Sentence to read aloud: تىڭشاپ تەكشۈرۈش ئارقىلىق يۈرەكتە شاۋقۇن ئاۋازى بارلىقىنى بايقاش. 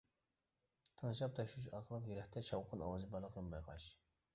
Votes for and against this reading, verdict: 0, 2, rejected